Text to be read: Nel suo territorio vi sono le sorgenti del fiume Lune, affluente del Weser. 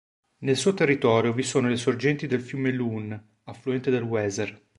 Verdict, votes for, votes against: accepted, 3, 0